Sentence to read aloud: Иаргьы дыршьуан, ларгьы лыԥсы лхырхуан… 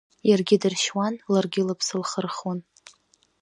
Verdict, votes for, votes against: rejected, 1, 2